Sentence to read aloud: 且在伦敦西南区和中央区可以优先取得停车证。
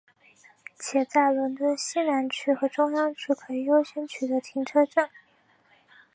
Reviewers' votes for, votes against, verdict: 6, 0, accepted